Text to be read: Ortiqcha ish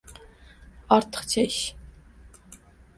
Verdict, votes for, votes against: rejected, 0, 2